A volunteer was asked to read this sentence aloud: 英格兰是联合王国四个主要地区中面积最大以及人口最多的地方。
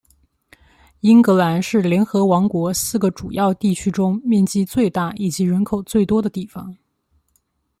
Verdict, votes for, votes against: accepted, 2, 0